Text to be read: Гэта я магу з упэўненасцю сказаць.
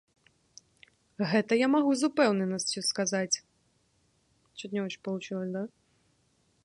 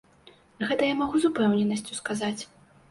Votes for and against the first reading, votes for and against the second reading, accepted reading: 0, 2, 2, 0, second